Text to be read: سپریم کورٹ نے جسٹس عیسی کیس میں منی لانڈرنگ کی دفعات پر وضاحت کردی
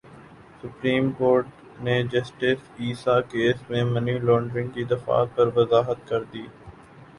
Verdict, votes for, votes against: rejected, 1, 2